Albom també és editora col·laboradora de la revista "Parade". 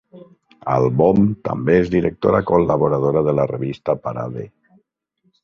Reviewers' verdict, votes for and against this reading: rejected, 0, 5